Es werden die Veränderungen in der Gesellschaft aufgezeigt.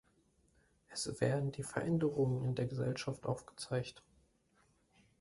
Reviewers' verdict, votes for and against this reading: accepted, 2, 0